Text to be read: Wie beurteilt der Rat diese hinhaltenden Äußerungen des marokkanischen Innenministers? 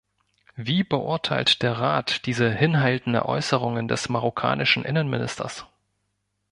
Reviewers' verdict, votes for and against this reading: rejected, 1, 2